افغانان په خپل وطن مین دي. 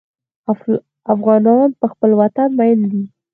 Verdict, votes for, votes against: rejected, 2, 4